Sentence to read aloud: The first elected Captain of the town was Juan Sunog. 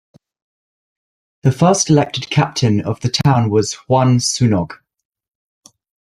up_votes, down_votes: 2, 0